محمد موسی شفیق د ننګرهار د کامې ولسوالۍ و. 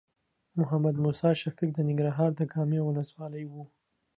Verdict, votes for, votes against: accepted, 2, 0